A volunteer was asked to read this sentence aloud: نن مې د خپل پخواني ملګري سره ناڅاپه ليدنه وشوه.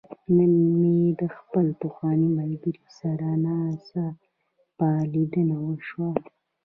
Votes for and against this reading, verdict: 2, 0, accepted